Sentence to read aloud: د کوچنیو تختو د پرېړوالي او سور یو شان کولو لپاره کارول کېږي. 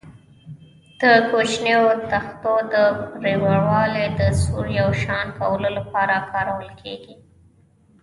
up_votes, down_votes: 2, 1